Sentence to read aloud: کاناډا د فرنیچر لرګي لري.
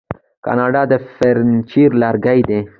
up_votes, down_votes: 2, 1